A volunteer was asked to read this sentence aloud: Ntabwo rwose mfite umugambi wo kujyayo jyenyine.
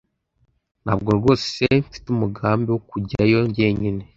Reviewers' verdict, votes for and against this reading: accepted, 2, 0